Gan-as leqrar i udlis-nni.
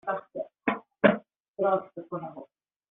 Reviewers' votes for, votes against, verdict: 0, 2, rejected